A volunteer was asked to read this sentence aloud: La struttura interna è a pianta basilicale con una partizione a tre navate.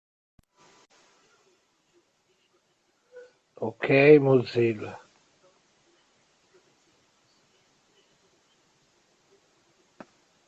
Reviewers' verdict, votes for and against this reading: rejected, 0, 2